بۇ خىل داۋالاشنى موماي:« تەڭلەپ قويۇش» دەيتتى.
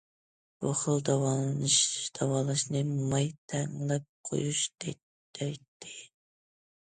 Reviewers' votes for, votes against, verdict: 0, 2, rejected